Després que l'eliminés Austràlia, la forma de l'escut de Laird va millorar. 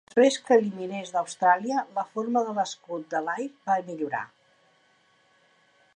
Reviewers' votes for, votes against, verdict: 0, 2, rejected